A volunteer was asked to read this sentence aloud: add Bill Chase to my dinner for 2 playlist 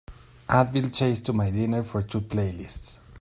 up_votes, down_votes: 0, 2